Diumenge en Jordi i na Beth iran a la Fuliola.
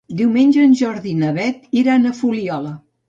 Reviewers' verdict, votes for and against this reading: rejected, 1, 3